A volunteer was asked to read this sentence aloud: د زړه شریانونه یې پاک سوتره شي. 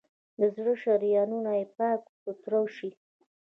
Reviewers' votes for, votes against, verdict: 1, 2, rejected